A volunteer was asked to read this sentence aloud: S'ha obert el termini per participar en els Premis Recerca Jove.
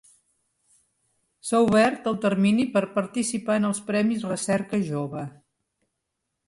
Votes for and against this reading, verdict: 4, 0, accepted